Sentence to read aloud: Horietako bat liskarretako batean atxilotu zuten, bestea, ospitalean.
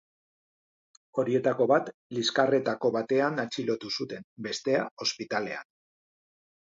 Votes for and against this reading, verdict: 2, 0, accepted